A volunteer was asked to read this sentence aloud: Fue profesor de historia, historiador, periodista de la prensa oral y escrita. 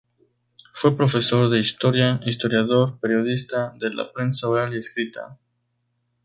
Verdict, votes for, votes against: accepted, 2, 0